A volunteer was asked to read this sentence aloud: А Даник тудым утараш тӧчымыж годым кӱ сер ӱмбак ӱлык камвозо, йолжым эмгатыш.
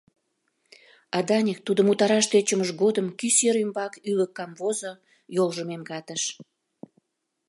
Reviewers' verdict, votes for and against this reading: accepted, 2, 0